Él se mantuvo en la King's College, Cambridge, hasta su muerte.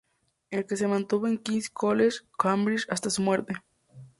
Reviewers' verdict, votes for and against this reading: accepted, 2, 0